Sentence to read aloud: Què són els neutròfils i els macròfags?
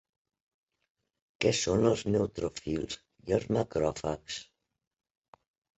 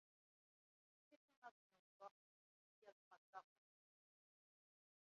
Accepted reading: first